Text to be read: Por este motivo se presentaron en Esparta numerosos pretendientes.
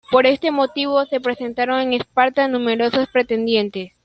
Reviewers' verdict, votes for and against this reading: accepted, 2, 0